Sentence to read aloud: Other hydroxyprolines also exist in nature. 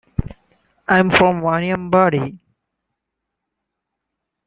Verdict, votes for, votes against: rejected, 0, 2